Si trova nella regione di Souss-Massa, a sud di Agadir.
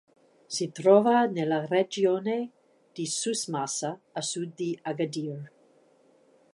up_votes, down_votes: 1, 2